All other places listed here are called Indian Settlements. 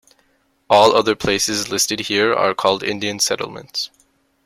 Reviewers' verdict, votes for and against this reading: accepted, 2, 0